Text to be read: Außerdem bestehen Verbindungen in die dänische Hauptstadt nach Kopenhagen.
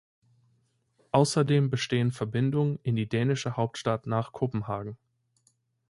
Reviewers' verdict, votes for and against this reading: accepted, 2, 0